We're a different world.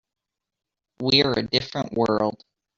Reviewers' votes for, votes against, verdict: 2, 0, accepted